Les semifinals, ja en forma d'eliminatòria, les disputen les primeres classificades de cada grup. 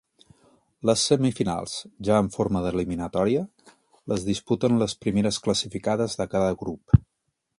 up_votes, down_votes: 2, 0